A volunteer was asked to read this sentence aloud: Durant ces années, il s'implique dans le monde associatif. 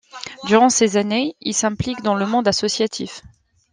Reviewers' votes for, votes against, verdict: 2, 0, accepted